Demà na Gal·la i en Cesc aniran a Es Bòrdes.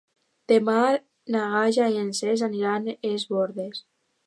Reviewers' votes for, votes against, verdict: 0, 2, rejected